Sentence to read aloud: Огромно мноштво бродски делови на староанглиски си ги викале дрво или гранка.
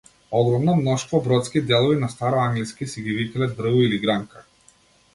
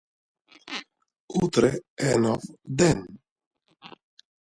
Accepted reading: first